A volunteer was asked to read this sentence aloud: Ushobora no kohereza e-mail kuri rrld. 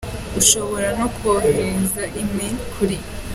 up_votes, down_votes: 1, 2